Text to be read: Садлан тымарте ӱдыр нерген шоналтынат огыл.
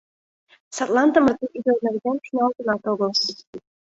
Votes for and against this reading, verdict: 2, 0, accepted